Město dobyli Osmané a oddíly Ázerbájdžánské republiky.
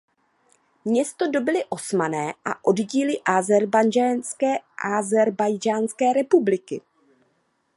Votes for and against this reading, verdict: 0, 2, rejected